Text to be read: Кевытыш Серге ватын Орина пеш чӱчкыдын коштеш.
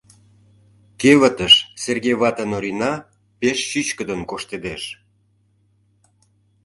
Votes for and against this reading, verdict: 1, 2, rejected